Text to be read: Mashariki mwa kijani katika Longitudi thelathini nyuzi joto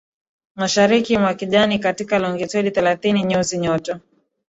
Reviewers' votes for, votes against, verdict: 2, 0, accepted